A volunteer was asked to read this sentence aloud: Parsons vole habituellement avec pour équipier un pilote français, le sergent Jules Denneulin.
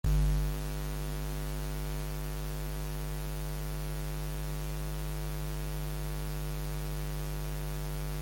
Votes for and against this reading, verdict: 0, 2, rejected